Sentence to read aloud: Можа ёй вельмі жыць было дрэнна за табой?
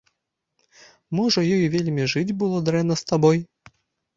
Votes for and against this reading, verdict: 1, 2, rejected